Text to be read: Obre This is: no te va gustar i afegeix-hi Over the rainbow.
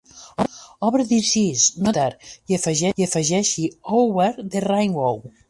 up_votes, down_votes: 0, 3